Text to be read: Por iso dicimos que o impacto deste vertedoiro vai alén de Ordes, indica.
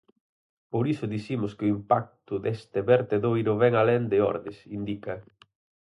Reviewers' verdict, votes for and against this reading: rejected, 0, 4